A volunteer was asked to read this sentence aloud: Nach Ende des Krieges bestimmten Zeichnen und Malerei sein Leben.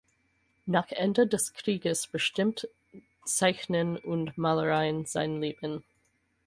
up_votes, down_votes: 0, 4